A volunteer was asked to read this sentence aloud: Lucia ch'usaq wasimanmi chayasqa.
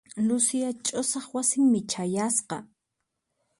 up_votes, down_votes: 2, 4